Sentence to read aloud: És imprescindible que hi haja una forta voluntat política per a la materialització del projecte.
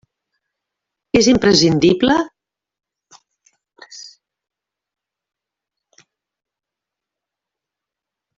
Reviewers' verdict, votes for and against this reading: rejected, 0, 2